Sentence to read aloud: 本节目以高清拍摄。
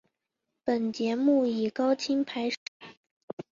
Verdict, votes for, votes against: accepted, 7, 0